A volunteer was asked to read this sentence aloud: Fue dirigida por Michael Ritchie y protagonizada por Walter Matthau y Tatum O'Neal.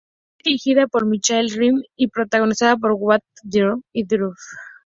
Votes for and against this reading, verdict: 0, 2, rejected